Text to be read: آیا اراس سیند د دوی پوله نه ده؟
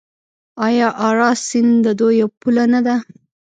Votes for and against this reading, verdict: 0, 2, rejected